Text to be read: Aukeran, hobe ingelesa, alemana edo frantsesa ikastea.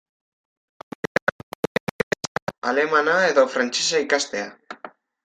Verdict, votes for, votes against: rejected, 0, 2